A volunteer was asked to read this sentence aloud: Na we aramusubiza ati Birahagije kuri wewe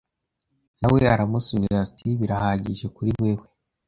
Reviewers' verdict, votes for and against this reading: rejected, 0, 2